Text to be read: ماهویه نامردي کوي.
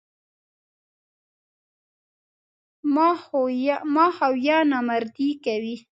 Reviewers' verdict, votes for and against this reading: rejected, 1, 2